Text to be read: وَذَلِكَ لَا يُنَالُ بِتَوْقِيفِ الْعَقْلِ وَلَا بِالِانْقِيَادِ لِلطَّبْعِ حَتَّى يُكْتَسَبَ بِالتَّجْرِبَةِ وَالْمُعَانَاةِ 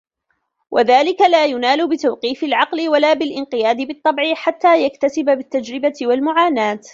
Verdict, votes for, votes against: rejected, 1, 2